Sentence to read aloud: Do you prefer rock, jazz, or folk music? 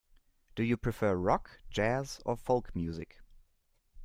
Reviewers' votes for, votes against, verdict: 2, 0, accepted